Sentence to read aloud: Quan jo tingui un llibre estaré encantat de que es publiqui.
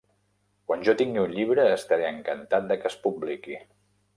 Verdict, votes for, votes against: accepted, 3, 0